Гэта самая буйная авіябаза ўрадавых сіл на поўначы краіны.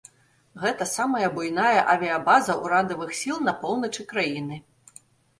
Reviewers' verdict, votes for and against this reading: accepted, 2, 0